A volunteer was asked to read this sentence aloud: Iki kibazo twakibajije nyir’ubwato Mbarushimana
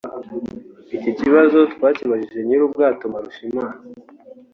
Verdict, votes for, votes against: accepted, 2, 0